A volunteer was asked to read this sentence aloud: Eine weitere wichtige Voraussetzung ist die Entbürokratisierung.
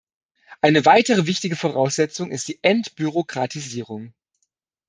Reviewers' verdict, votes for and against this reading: accepted, 2, 0